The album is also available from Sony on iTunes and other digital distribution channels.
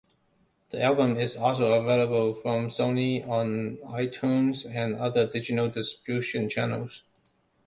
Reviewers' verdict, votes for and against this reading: rejected, 1, 2